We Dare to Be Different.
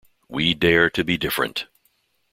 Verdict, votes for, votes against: accepted, 2, 0